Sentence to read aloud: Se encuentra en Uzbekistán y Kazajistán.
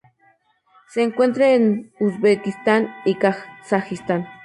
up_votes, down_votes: 0, 2